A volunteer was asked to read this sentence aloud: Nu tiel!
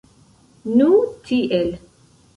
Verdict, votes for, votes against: rejected, 0, 2